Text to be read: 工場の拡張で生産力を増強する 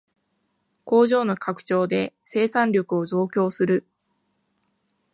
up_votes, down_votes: 2, 0